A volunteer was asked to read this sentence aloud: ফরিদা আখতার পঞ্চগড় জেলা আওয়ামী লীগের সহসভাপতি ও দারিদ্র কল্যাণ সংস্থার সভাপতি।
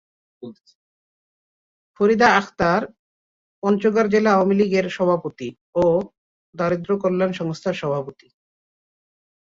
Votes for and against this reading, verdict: 0, 2, rejected